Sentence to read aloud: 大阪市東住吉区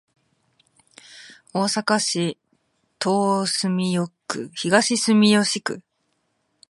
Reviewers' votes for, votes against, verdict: 2, 3, rejected